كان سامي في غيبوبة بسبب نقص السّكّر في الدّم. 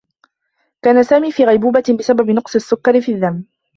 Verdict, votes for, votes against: accepted, 2, 1